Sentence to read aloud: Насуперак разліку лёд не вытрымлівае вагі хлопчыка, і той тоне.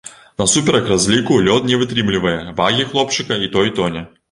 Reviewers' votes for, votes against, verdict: 2, 0, accepted